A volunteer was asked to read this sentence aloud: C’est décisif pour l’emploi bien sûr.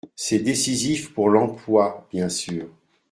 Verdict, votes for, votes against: accepted, 2, 0